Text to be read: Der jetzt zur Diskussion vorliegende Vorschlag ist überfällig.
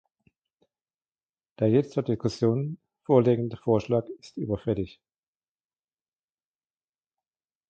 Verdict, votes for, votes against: rejected, 0, 2